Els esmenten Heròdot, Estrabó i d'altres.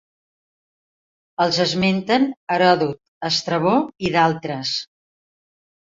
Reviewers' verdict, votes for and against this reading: accepted, 2, 0